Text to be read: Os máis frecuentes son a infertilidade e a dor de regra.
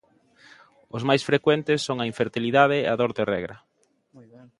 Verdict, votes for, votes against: accepted, 2, 1